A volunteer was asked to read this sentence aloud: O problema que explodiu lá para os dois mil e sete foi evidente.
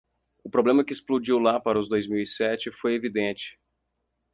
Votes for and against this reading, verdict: 4, 0, accepted